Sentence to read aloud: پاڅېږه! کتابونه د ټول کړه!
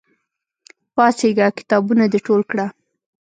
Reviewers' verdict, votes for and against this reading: accepted, 2, 0